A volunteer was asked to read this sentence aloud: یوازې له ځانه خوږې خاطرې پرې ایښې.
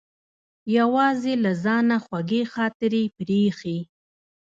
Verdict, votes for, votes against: rejected, 1, 2